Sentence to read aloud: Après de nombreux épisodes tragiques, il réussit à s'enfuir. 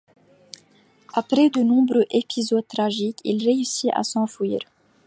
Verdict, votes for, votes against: accepted, 2, 0